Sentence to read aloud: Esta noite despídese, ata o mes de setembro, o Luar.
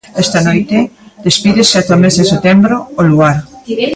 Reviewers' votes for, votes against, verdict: 0, 2, rejected